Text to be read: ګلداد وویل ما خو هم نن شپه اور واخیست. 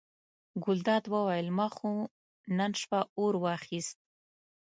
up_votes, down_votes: 1, 2